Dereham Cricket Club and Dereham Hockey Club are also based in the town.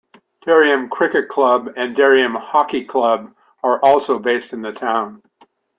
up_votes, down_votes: 2, 0